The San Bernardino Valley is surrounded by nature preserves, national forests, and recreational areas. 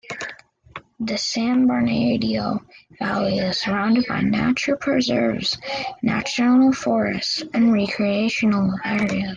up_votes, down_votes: 1, 2